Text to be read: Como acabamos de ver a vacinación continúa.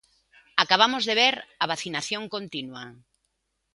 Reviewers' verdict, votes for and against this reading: rejected, 0, 2